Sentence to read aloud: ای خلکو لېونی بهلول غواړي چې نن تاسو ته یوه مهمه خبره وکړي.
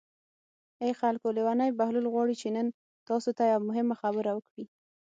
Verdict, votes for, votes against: accepted, 6, 0